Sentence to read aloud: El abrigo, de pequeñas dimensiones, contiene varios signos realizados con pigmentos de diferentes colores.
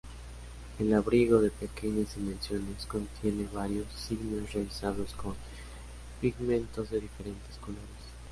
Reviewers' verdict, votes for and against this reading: accepted, 2, 0